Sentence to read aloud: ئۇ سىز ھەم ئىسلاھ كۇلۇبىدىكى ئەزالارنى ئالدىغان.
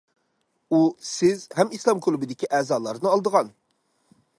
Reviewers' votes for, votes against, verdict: 0, 2, rejected